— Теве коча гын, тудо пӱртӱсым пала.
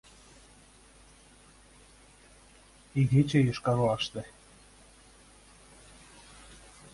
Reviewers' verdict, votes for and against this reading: rejected, 0, 2